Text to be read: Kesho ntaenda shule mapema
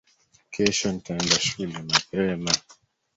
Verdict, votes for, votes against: accepted, 3, 1